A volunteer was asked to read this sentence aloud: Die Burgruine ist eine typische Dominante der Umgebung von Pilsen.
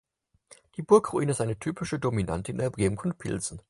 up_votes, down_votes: 4, 2